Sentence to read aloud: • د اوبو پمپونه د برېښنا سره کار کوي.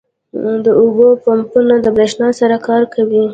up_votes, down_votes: 0, 2